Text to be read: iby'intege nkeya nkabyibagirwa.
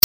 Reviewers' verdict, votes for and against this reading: rejected, 0, 2